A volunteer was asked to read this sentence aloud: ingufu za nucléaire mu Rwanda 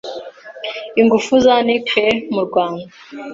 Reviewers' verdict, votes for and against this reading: accepted, 2, 0